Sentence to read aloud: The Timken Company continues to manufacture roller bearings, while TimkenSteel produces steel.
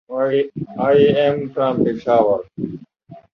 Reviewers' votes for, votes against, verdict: 0, 2, rejected